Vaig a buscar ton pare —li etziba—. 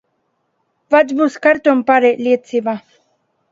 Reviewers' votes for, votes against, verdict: 1, 2, rejected